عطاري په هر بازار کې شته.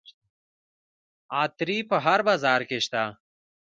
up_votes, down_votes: 2, 0